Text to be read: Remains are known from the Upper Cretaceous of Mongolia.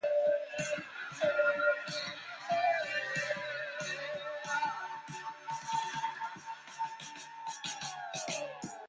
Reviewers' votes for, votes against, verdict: 0, 2, rejected